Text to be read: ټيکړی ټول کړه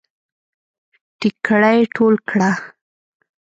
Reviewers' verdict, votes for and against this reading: rejected, 0, 2